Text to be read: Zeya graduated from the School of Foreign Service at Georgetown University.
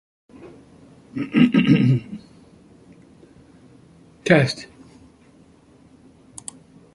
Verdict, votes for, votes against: rejected, 0, 4